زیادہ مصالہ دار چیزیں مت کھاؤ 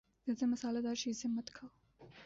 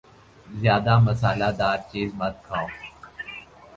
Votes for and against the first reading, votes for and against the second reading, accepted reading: 2, 1, 1, 2, first